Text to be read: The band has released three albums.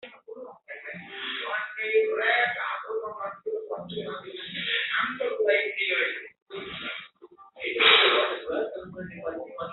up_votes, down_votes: 0, 2